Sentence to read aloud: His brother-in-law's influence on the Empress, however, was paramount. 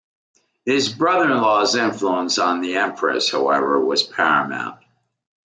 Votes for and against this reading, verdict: 2, 1, accepted